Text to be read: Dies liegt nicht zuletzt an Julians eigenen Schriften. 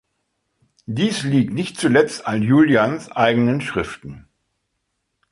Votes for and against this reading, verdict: 2, 0, accepted